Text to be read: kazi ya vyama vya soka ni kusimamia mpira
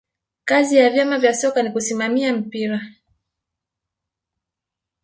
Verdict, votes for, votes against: accepted, 2, 0